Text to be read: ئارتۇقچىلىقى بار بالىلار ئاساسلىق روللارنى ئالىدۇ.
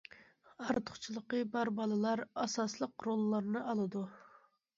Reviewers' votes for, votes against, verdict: 2, 0, accepted